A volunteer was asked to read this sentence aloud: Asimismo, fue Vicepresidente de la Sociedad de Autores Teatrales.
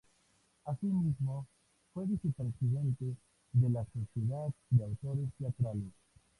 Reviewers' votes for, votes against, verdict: 0, 2, rejected